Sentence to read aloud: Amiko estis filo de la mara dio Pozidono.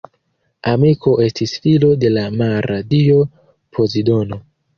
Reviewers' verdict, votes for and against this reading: rejected, 1, 2